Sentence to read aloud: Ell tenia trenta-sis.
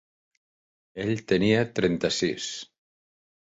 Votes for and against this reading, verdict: 3, 0, accepted